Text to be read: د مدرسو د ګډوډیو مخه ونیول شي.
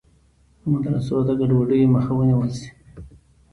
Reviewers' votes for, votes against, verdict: 2, 0, accepted